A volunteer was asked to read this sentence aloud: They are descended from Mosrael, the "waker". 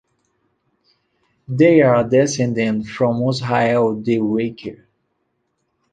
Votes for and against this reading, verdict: 0, 2, rejected